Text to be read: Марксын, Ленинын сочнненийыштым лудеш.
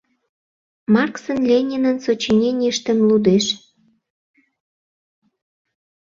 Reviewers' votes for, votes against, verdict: 0, 2, rejected